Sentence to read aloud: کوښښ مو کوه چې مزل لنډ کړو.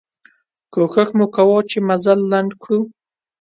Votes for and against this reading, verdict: 2, 0, accepted